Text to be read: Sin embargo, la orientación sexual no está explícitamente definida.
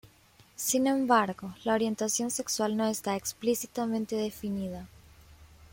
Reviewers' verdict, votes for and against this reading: accepted, 2, 1